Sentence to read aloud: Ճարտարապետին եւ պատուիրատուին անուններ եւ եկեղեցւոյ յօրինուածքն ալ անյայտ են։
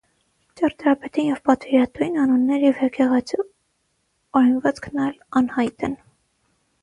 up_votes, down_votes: 0, 3